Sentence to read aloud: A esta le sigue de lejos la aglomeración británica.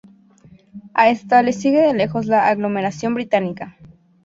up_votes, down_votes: 2, 0